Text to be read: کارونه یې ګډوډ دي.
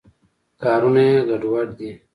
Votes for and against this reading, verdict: 2, 0, accepted